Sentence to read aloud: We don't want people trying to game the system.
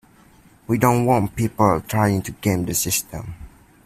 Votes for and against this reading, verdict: 1, 2, rejected